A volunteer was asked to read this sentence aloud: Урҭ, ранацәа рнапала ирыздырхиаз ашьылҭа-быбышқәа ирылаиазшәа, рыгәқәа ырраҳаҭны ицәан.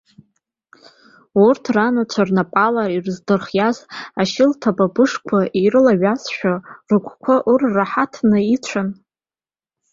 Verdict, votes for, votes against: accepted, 2, 0